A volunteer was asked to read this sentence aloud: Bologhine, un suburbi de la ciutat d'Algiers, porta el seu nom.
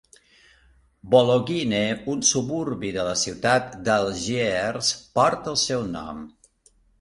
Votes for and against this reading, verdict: 5, 0, accepted